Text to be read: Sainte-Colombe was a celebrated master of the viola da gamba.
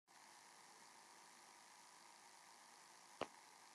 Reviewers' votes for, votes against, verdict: 0, 2, rejected